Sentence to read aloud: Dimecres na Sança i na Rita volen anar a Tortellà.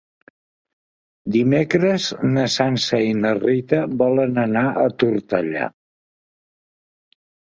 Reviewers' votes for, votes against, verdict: 3, 0, accepted